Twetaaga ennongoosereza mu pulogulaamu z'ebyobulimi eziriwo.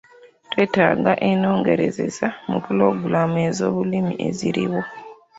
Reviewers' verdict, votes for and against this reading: accepted, 2, 1